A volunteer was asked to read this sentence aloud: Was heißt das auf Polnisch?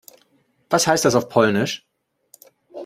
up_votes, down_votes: 2, 0